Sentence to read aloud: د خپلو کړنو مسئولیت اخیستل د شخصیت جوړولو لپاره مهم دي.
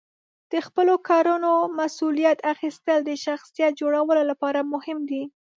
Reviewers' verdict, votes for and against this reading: rejected, 1, 2